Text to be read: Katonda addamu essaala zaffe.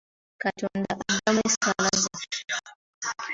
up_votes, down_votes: 2, 0